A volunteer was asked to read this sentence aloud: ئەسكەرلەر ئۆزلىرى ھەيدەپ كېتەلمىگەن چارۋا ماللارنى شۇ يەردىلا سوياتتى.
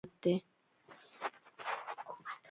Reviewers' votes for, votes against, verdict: 0, 2, rejected